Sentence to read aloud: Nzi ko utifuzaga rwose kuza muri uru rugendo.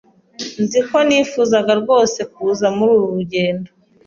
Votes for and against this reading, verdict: 0, 2, rejected